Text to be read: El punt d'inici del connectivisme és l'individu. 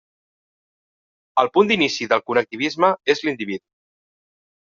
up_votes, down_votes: 1, 2